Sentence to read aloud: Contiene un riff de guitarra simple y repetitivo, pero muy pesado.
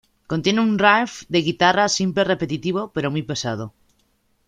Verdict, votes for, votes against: accepted, 2, 0